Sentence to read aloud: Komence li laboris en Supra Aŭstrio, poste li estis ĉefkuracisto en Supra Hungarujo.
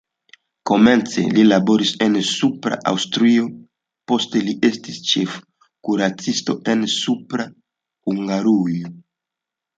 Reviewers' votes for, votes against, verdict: 2, 0, accepted